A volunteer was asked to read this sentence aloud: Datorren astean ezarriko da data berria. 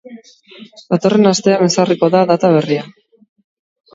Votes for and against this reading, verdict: 0, 2, rejected